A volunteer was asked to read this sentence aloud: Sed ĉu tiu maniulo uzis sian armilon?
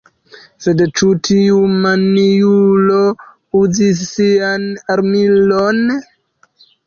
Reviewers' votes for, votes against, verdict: 2, 1, accepted